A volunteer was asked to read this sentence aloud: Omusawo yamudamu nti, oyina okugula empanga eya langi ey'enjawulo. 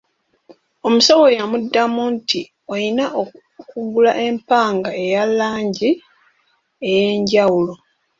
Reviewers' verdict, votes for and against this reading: accepted, 2, 0